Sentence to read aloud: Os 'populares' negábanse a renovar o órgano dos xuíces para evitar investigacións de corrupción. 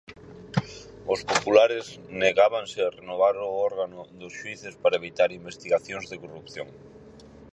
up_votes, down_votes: 6, 0